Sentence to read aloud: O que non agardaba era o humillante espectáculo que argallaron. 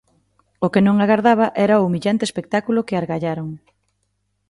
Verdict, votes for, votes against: accepted, 2, 0